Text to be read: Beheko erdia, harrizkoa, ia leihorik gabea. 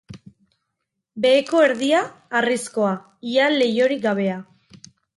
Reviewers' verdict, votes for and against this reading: accepted, 6, 0